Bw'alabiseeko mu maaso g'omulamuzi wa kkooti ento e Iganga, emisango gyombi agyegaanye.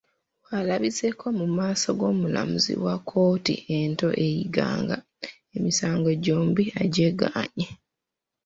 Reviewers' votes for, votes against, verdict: 1, 2, rejected